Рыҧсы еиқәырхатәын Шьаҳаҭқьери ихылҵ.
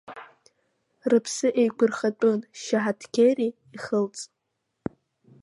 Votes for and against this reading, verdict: 0, 2, rejected